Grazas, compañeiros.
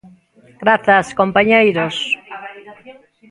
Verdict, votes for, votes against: rejected, 1, 2